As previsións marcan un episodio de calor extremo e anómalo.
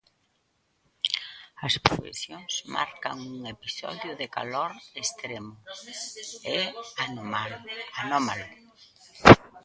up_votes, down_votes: 0, 2